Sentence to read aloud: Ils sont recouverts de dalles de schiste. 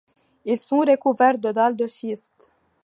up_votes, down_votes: 2, 1